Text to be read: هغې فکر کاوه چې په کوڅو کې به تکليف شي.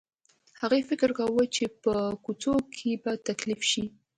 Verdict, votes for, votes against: accepted, 2, 0